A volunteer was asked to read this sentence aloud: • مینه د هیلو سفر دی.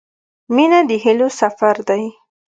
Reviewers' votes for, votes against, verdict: 2, 0, accepted